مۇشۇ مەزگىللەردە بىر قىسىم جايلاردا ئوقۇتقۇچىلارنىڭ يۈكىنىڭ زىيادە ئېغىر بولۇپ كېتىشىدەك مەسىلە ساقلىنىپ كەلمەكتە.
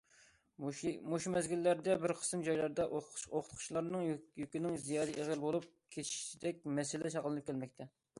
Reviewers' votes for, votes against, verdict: 0, 2, rejected